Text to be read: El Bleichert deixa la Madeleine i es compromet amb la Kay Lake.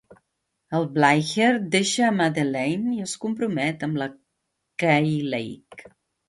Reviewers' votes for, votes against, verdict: 0, 2, rejected